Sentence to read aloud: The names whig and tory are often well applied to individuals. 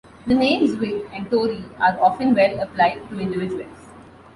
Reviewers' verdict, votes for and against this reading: accepted, 2, 0